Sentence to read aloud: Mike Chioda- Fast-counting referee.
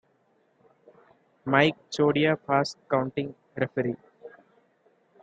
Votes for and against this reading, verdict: 2, 0, accepted